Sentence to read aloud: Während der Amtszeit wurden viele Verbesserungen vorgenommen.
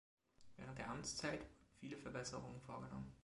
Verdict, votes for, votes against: rejected, 1, 2